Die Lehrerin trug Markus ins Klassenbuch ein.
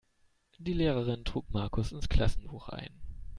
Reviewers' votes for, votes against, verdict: 2, 0, accepted